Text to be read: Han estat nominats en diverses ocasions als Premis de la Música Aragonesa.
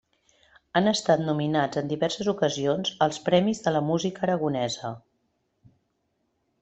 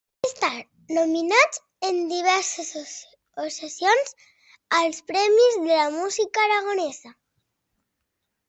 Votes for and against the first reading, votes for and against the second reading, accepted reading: 3, 0, 0, 2, first